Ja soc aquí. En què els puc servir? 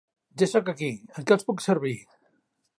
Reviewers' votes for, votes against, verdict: 3, 1, accepted